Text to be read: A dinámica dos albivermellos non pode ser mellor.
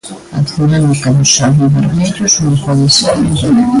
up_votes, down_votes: 0, 2